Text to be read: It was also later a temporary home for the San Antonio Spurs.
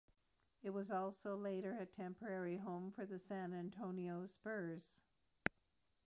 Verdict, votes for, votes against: rejected, 1, 2